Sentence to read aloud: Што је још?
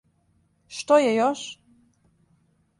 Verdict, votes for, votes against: accepted, 2, 0